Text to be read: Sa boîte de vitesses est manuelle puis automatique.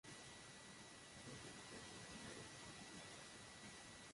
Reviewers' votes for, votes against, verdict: 0, 2, rejected